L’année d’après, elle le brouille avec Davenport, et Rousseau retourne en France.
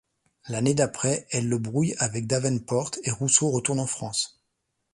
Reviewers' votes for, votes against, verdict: 2, 1, accepted